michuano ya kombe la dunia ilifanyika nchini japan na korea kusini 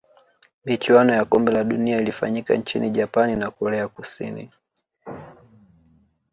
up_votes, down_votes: 2, 1